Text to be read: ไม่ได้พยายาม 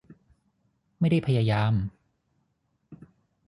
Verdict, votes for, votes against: rejected, 3, 3